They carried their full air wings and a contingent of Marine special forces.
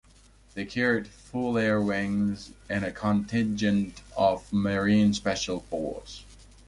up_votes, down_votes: 0, 2